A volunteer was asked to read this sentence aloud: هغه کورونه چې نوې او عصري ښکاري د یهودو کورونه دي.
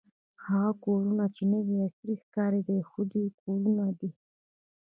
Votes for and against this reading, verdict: 1, 2, rejected